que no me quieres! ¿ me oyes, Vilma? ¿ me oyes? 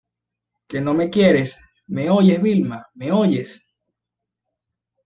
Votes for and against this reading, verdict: 2, 0, accepted